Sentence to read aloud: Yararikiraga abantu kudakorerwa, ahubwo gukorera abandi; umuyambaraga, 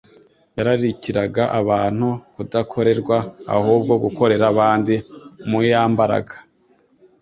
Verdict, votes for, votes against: accepted, 2, 0